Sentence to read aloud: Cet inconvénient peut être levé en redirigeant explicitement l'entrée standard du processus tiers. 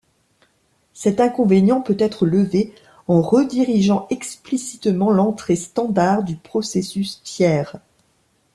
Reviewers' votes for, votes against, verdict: 2, 0, accepted